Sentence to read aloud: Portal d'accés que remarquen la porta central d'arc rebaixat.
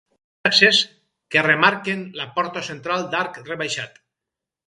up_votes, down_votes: 0, 4